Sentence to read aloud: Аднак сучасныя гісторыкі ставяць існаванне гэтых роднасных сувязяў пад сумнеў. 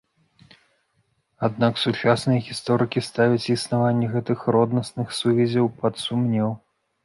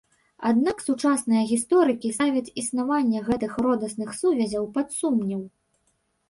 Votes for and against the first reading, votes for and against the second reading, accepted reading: 2, 0, 1, 3, first